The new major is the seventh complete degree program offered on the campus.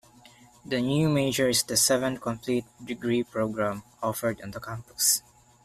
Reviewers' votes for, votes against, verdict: 2, 0, accepted